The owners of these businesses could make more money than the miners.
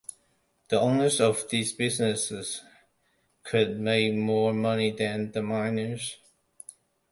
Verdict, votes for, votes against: accepted, 2, 0